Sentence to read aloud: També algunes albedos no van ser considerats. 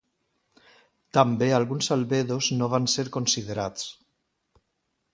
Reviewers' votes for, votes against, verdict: 0, 2, rejected